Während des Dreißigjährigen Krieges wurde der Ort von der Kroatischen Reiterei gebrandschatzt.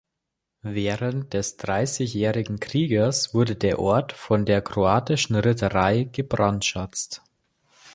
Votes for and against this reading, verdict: 0, 2, rejected